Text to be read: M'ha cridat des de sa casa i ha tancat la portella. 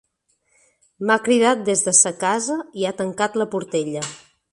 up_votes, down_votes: 3, 0